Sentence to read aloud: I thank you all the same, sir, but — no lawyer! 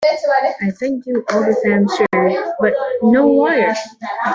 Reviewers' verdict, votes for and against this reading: rejected, 1, 2